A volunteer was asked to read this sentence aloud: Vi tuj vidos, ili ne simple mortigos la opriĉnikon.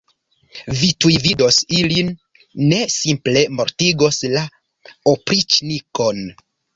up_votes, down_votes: 1, 2